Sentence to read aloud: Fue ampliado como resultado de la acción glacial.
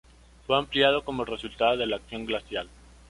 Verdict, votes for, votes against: accepted, 2, 1